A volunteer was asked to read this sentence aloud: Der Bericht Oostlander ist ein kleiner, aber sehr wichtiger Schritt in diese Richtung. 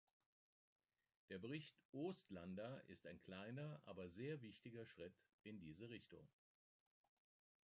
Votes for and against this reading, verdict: 1, 2, rejected